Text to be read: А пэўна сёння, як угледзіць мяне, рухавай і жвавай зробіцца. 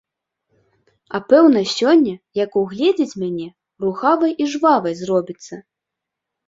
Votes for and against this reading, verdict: 2, 0, accepted